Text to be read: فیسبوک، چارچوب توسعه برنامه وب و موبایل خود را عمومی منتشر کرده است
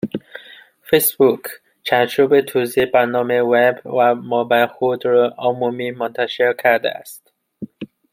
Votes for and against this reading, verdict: 0, 2, rejected